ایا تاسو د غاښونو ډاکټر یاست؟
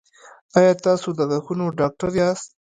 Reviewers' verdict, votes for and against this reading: rejected, 0, 3